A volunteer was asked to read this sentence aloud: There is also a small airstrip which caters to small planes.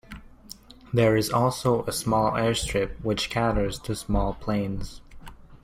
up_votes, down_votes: 0, 2